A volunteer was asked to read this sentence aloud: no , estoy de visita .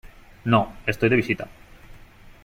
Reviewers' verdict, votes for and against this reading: accepted, 3, 1